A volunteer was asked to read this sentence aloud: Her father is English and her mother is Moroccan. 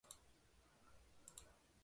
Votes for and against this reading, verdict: 0, 2, rejected